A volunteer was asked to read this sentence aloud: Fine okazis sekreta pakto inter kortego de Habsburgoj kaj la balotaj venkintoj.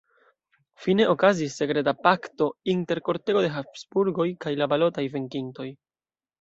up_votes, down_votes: 2, 0